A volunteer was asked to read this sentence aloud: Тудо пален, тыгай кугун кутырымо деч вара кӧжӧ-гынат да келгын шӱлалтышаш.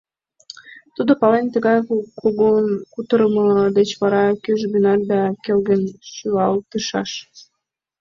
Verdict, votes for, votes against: rejected, 1, 2